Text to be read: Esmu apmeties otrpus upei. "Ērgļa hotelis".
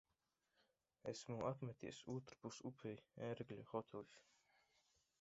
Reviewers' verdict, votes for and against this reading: rejected, 0, 2